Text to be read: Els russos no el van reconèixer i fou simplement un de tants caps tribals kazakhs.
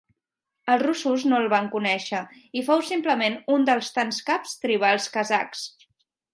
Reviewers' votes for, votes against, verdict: 1, 2, rejected